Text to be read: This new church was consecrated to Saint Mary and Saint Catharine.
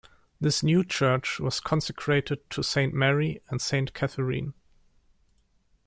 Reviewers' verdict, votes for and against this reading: accepted, 3, 0